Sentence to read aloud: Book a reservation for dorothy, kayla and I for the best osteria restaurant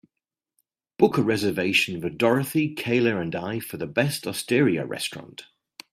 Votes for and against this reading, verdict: 3, 0, accepted